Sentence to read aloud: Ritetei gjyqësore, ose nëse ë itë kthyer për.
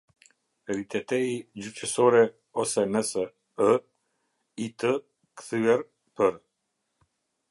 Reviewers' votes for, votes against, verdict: 1, 2, rejected